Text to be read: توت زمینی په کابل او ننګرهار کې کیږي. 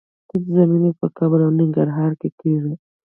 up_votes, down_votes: 0, 2